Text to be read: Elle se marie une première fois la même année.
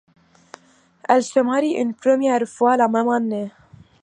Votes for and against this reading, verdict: 2, 1, accepted